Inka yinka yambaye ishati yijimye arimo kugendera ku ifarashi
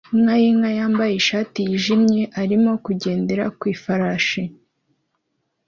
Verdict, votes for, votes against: accepted, 2, 0